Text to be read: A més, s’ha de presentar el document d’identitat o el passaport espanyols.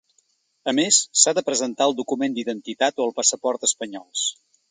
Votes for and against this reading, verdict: 3, 0, accepted